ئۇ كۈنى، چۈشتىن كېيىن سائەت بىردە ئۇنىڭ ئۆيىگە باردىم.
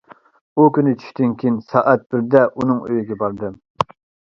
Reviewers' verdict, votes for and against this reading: accepted, 2, 0